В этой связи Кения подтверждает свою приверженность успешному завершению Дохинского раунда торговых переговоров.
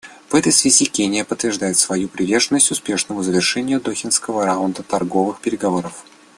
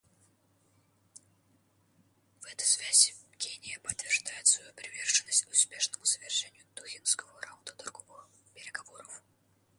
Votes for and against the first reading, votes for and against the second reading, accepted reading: 2, 0, 1, 2, first